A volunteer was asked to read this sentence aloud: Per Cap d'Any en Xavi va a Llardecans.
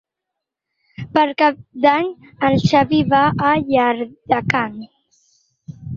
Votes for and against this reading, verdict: 4, 2, accepted